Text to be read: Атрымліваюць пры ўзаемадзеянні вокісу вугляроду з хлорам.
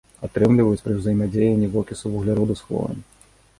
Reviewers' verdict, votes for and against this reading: accepted, 2, 0